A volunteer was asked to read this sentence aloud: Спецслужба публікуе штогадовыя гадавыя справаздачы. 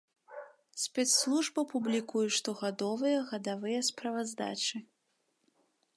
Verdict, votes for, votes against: accepted, 3, 0